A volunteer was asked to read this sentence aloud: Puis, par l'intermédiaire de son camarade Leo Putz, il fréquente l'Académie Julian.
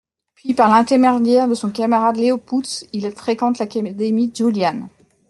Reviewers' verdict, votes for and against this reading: rejected, 0, 2